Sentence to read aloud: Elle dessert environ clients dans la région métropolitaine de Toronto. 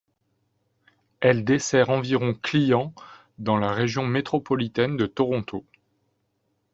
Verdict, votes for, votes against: accepted, 3, 0